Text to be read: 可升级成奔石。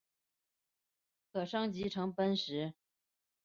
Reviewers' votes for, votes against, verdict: 5, 0, accepted